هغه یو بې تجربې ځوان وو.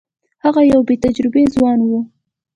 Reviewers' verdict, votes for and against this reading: rejected, 1, 2